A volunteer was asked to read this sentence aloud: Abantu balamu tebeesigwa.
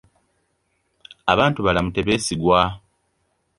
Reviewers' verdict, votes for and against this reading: accepted, 2, 0